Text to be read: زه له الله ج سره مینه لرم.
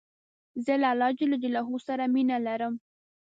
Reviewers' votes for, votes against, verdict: 2, 0, accepted